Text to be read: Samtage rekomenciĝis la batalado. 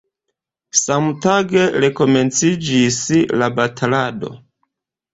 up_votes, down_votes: 2, 0